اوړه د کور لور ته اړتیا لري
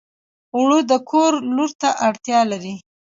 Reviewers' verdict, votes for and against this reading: accepted, 2, 0